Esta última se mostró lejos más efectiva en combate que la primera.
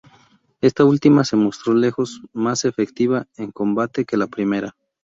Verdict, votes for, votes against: rejected, 0, 2